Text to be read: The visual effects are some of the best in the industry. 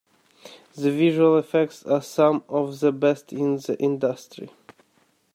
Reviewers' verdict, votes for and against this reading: accepted, 2, 1